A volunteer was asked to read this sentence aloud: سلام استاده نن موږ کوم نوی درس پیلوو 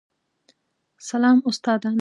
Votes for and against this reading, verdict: 1, 2, rejected